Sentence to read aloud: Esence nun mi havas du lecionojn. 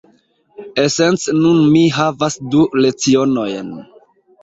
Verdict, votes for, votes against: rejected, 1, 2